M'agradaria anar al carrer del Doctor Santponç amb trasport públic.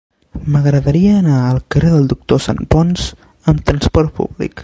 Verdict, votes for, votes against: accepted, 2, 0